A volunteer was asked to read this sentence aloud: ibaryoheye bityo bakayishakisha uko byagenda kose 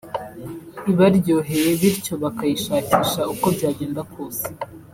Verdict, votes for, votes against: accepted, 3, 0